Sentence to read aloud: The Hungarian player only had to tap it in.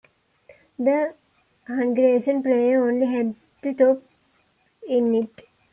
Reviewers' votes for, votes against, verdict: 2, 1, accepted